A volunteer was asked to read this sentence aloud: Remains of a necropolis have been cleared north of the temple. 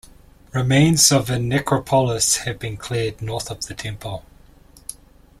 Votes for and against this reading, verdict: 1, 2, rejected